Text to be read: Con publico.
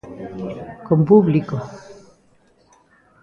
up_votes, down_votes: 0, 2